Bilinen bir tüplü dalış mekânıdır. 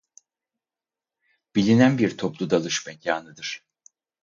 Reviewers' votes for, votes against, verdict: 2, 2, rejected